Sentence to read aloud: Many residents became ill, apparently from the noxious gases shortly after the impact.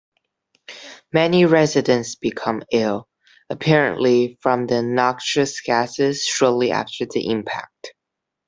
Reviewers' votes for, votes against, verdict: 1, 2, rejected